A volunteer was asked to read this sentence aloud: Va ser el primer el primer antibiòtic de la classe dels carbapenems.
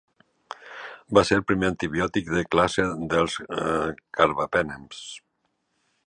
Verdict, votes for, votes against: rejected, 0, 3